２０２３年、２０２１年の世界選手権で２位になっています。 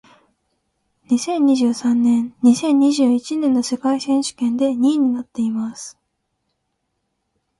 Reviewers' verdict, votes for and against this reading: rejected, 0, 2